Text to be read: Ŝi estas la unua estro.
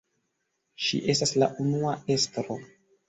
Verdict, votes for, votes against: accepted, 2, 0